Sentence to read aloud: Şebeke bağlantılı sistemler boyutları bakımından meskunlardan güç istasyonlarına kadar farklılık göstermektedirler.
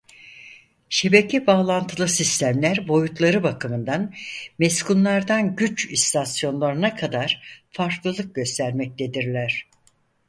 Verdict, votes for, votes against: accepted, 4, 0